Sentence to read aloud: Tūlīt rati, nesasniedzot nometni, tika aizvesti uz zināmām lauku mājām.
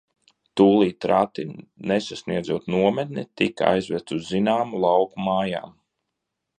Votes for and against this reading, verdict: 1, 2, rejected